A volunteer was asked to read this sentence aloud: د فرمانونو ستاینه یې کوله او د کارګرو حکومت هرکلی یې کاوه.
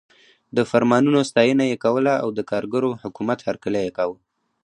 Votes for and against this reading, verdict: 2, 0, accepted